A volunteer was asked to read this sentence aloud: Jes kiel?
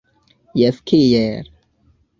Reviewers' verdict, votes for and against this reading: accepted, 2, 0